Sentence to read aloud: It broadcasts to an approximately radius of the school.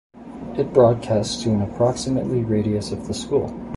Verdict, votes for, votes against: accepted, 2, 0